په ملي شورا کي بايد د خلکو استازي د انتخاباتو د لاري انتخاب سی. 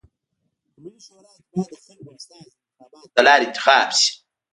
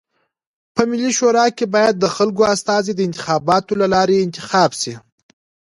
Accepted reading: second